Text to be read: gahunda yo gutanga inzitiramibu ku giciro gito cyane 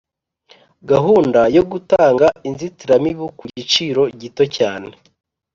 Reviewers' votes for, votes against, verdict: 3, 0, accepted